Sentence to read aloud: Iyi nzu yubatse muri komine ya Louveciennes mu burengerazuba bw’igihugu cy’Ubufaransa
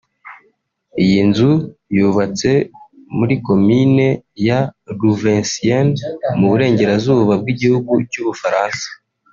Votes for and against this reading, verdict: 1, 2, rejected